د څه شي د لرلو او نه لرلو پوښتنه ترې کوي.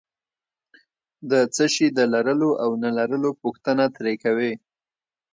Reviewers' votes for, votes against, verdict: 2, 0, accepted